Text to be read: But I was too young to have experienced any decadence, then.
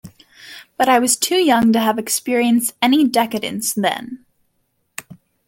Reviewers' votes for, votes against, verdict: 2, 0, accepted